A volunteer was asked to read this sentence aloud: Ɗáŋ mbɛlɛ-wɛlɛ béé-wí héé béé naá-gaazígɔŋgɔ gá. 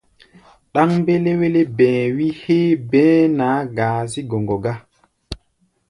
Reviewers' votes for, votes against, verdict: 1, 2, rejected